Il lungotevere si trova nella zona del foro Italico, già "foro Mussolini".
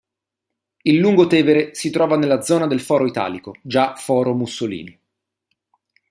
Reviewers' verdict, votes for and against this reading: accepted, 2, 0